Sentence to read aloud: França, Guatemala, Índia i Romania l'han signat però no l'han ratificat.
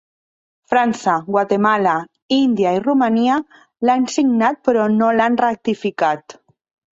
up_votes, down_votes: 2, 0